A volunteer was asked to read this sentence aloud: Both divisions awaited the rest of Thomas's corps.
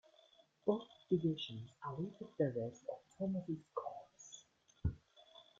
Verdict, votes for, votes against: accepted, 2, 1